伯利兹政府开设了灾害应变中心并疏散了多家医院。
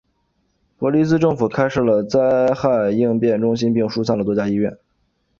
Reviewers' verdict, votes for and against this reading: accepted, 2, 0